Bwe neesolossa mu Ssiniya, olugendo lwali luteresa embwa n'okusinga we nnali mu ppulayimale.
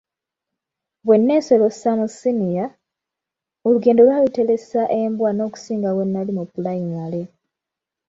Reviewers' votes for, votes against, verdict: 0, 2, rejected